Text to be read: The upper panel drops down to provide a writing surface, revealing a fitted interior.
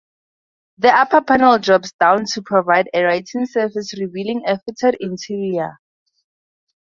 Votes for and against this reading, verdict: 0, 2, rejected